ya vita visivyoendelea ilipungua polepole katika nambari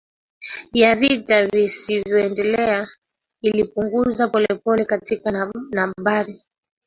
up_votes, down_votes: 1, 2